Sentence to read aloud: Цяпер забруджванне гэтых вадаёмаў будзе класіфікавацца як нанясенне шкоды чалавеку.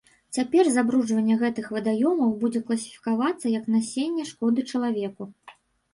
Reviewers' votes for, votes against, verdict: 1, 2, rejected